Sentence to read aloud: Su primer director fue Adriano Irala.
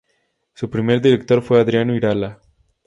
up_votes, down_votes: 2, 0